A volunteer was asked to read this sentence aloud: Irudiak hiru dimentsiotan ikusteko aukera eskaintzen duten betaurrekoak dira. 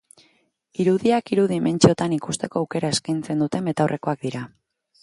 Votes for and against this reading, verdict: 2, 2, rejected